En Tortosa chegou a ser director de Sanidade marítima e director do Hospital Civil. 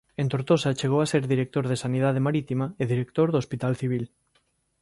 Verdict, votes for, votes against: accepted, 2, 1